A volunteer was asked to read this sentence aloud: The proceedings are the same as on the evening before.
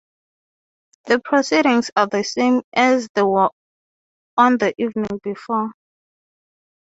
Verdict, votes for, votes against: rejected, 0, 3